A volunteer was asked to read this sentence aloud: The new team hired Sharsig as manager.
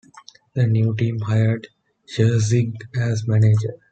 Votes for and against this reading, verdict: 2, 0, accepted